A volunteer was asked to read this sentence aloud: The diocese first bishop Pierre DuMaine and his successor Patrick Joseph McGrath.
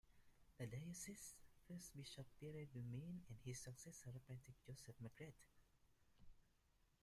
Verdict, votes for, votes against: rejected, 0, 2